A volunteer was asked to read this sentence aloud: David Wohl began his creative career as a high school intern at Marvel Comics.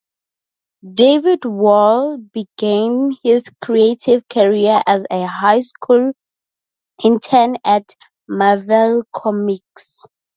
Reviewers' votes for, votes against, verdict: 2, 0, accepted